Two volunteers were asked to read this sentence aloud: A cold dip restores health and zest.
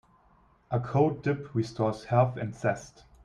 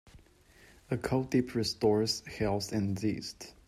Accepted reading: first